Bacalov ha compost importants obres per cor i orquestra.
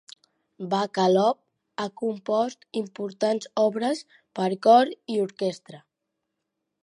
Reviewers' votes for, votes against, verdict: 2, 0, accepted